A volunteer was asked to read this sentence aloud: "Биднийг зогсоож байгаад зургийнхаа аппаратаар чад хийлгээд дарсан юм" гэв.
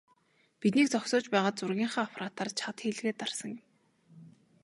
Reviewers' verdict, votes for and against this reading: accepted, 2, 1